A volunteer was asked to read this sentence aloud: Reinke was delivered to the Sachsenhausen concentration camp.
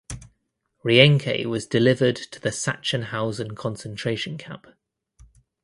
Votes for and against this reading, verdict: 1, 2, rejected